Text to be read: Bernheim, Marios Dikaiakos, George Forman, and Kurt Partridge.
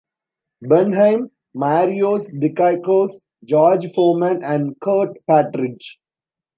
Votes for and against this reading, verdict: 2, 1, accepted